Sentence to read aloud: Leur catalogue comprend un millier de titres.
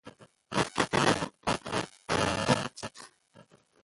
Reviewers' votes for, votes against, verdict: 0, 2, rejected